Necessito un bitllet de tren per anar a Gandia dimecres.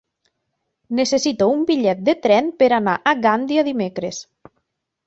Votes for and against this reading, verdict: 0, 3, rejected